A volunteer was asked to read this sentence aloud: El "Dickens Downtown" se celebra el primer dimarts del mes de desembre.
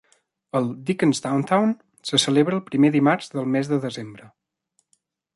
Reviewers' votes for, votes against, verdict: 2, 0, accepted